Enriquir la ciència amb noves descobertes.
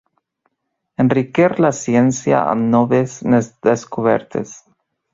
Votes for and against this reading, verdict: 0, 2, rejected